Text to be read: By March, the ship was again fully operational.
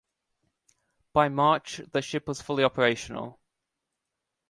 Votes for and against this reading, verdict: 1, 2, rejected